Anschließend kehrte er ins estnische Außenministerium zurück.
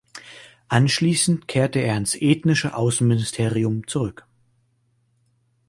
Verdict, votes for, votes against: rejected, 0, 2